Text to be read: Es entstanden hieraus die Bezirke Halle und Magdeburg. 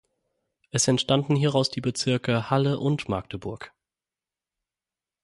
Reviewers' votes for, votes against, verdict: 6, 0, accepted